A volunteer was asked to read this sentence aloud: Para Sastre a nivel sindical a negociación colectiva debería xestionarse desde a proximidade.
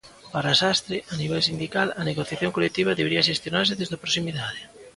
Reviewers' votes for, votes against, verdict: 1, 2, rejected